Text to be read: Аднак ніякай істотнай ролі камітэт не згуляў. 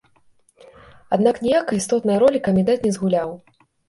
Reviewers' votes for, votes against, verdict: 2, 0, accepted